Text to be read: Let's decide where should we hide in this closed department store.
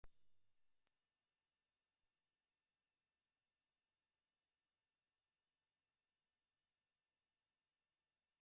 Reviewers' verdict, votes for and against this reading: rejected, 0, 2